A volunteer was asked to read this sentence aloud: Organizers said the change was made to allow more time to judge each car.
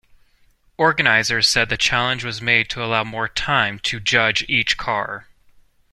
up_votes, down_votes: 1, 2